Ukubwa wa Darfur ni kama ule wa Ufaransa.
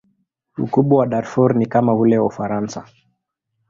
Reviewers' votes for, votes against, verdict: 2, 0, accepted